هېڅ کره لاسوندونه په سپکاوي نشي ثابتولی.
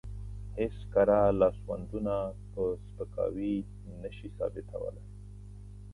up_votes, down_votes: 2, 0